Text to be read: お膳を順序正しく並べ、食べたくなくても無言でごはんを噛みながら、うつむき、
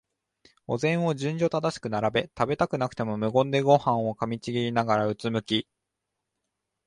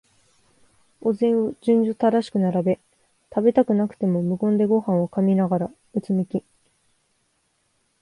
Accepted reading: second